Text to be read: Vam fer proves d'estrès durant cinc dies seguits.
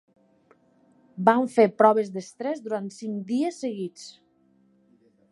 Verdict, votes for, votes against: accepted, 2, 0